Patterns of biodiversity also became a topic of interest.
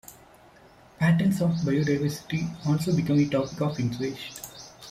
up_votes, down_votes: 1, 2